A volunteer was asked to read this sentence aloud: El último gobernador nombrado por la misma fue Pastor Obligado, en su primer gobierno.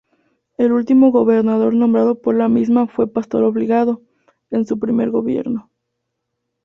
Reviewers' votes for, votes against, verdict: 2, 0, accepted